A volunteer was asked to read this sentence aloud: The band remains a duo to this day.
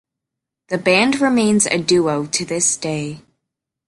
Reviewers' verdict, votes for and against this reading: accepted, 2, 0